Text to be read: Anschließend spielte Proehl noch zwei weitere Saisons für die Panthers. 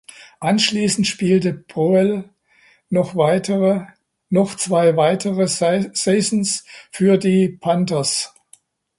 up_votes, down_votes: 0, 2